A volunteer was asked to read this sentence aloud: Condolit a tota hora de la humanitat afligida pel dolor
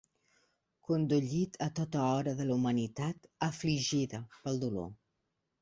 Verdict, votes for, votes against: rejected, 0, 2